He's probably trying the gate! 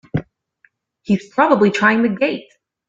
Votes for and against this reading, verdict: 2, 0, accepted